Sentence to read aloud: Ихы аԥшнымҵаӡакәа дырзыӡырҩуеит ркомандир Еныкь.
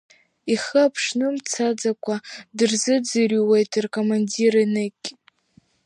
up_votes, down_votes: 1, 2